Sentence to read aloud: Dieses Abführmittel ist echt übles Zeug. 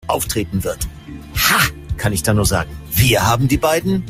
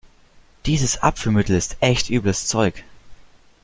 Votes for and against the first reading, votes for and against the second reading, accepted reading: 0, 2, 3, 0, second